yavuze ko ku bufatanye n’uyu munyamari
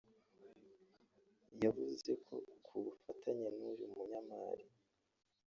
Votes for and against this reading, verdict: 0, 2, rejected